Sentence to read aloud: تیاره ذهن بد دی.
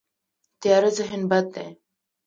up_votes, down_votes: 1, 2